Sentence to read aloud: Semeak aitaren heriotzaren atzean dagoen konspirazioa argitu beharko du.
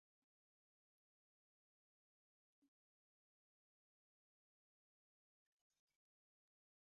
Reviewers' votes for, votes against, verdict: 0, 2, rejected